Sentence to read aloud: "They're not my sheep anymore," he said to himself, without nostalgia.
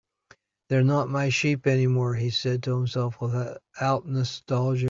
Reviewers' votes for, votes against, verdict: 0, 2, rejected